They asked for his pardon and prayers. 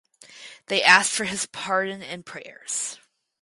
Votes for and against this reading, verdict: 2, 2, rejected